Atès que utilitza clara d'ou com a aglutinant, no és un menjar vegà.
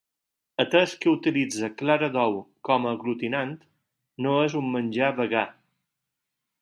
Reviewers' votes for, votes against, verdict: 4, 0, accepted